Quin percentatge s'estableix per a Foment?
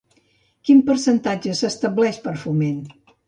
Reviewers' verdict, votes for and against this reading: rejected, 1, 2